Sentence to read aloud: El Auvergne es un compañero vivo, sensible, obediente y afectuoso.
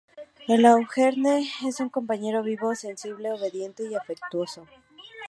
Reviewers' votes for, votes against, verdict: 0, 2, rejected